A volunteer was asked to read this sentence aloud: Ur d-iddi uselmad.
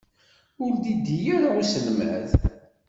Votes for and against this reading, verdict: 1, 2, rejected